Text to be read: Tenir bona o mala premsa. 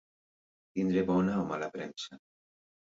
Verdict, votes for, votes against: rejected, 1, 2